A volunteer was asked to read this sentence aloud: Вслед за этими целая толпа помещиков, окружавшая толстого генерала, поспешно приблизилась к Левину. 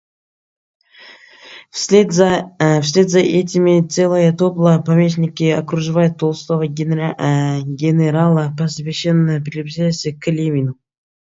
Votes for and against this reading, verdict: 1, 2, rejected